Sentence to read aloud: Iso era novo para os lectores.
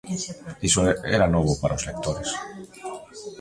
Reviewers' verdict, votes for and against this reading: rejected, 0, 2